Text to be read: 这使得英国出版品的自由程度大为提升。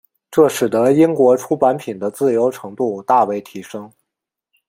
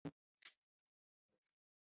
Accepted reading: first